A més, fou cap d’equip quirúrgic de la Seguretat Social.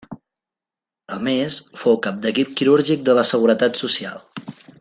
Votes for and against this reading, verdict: 3, 0, accepted